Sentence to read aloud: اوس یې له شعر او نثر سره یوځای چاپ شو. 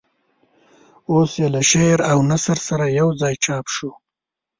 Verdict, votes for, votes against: rejected, 0, 2